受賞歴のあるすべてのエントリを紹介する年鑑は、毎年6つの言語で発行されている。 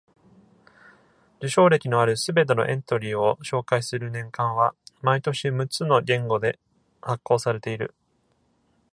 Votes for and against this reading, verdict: 0, 2, rejected